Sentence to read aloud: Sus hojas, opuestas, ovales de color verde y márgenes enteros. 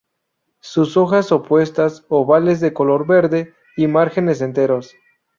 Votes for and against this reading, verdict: 2, 0, accepted